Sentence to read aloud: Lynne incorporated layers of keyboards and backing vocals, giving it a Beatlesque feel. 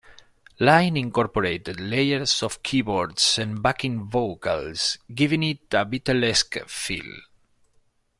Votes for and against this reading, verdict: 2, 0, accepted